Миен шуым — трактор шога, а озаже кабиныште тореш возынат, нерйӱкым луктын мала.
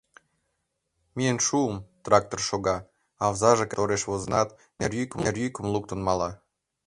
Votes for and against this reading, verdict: 0, 2, rejected